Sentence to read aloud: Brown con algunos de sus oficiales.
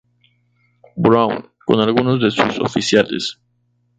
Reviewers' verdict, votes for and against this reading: accepted, 4, 0